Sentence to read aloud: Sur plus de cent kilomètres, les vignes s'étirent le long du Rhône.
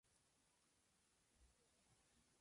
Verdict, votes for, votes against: rejected, 0, 2